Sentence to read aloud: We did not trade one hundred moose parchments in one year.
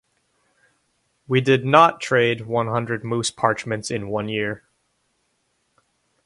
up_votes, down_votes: 2, 0